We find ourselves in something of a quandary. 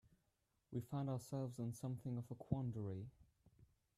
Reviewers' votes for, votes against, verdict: 2, 0, accepted